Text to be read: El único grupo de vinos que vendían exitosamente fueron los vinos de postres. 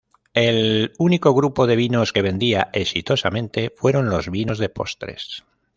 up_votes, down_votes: 0, 2